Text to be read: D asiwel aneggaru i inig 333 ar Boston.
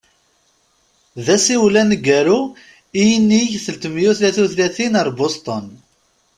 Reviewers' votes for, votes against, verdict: 0, 2, rejected